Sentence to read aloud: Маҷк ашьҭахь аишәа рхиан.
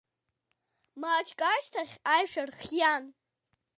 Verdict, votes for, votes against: accepted, 2, 0